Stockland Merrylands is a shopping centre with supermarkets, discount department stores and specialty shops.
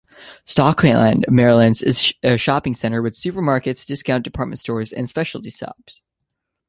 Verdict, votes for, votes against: accepted, 3, 2